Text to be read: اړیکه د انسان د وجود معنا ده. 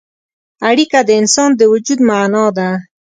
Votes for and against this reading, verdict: 2, 0, accepted